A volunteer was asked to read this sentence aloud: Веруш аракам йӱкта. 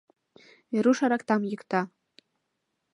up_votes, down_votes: 1, 2